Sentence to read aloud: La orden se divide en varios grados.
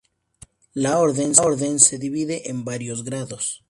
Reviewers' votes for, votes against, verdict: 0, 2, rejected